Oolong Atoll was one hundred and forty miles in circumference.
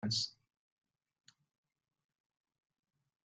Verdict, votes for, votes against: rejected, 0, 2